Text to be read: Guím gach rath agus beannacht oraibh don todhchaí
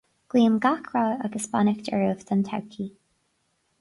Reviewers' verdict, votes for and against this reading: rejected, 2, 4